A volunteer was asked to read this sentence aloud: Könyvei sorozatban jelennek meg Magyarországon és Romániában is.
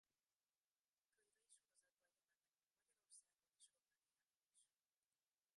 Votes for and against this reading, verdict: 0, 2, rejected